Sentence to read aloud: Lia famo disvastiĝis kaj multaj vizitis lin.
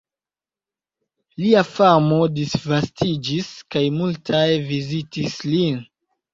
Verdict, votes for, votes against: accepted, 2, 0